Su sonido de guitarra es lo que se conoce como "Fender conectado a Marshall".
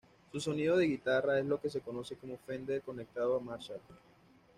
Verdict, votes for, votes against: accepted, 2, 0